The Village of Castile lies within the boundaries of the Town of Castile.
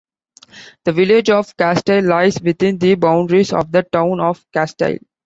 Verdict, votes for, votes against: accepted, 2, 1